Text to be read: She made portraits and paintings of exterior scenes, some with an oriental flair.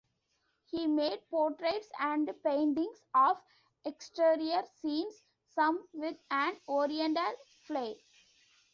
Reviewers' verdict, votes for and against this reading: rejected, 1, 2